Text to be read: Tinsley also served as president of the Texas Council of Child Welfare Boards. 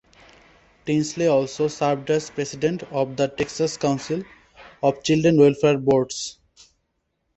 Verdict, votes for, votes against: rejected, 1, 2